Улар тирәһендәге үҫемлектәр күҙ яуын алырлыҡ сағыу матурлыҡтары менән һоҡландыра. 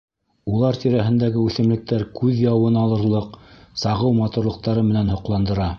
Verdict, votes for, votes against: accepted, 2, 0